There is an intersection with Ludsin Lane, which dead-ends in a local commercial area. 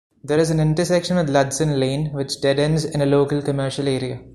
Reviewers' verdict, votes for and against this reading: rejected, 1, 2